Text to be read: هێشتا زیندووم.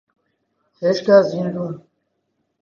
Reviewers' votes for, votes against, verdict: 7, 1, accepted